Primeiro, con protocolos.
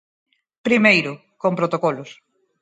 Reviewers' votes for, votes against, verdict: 4, 0, accepted